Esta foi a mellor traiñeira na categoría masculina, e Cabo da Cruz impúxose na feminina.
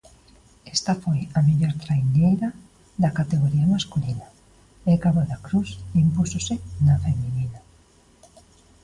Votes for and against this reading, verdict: 2, 0, accepted